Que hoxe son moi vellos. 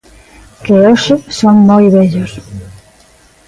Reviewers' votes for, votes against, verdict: 3, 0, accepted